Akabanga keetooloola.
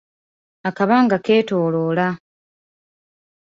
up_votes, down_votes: 2, 0